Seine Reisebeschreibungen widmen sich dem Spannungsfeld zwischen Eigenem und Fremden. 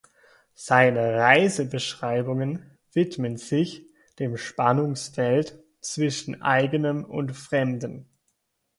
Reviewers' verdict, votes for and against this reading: accepted, 2, 0